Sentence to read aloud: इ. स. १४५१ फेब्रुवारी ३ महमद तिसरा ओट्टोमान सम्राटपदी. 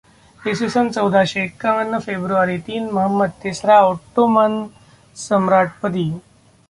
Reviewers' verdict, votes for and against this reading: rejected, 0, 2